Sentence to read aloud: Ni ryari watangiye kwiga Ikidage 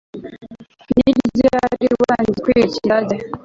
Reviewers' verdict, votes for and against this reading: rejected, 0, 2